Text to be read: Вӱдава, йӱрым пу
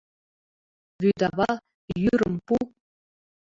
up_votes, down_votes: 2, 0